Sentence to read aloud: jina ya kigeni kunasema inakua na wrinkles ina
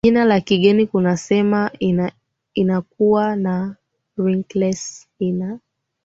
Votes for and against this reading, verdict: 0, 2, rejected